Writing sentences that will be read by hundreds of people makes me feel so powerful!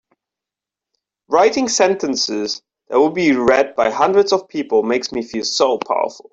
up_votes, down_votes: 2, 0